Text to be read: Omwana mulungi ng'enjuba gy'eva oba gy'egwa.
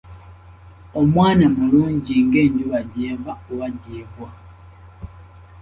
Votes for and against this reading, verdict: 2, 0, accepted